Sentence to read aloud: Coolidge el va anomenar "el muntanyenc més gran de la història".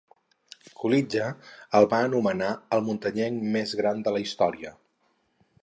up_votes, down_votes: 4, 0